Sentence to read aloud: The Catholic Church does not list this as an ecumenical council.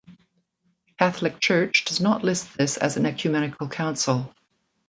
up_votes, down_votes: 2, 1